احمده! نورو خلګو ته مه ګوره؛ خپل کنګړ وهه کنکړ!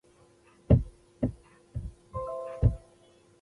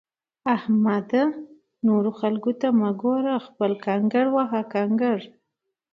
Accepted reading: second